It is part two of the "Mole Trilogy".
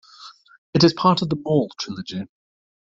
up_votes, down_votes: 1, 2